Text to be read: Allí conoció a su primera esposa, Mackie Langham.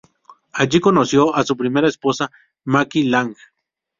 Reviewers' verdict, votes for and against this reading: rejected, 0, 2